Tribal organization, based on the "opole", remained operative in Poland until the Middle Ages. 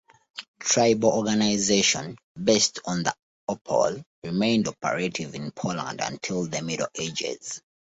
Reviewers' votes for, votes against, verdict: 2, 0, accepted